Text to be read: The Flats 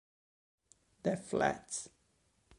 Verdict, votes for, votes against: accepted, 2, 0